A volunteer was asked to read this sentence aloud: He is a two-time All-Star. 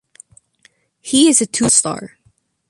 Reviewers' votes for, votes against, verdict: 1, 2, rejected